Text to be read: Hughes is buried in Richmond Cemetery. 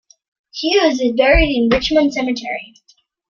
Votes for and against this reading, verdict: 2, 0, accepted